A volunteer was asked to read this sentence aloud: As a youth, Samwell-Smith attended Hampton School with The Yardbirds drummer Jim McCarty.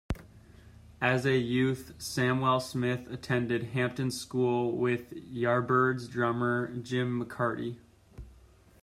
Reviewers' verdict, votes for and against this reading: rejected, 0, 2